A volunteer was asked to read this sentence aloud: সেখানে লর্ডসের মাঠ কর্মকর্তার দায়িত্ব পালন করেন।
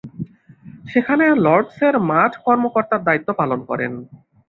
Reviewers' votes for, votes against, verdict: 3, 0, accepted